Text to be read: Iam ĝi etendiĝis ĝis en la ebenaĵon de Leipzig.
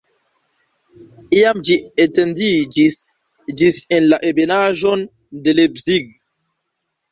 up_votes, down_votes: 0, 2